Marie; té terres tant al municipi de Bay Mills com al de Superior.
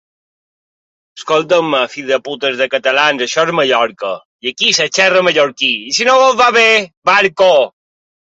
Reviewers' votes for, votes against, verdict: 0, 2, rejected